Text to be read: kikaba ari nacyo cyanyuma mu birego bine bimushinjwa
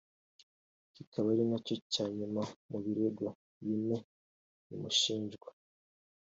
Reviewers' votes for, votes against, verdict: 2, 1, accepted